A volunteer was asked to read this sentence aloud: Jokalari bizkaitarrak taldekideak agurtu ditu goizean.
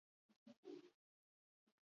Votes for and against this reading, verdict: 2, 0, accepted